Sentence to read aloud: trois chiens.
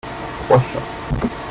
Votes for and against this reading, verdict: 0, 2, rejected